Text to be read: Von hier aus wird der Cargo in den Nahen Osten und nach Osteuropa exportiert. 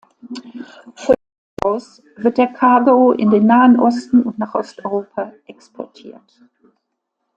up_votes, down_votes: 0, 2